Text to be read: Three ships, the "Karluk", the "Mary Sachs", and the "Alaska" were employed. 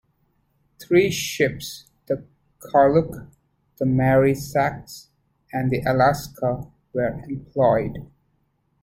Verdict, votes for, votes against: rejected, 0, 2